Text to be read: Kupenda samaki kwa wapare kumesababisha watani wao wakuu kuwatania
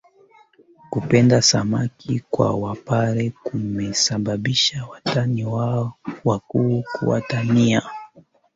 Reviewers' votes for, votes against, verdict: 2, 3, rejected